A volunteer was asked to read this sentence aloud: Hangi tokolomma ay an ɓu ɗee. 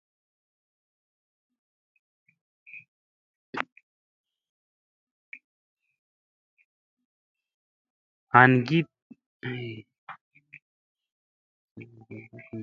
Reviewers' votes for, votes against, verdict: 1, 2, rejected